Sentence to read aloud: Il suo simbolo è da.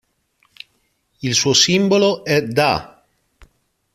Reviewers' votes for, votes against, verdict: 2, 0, accepted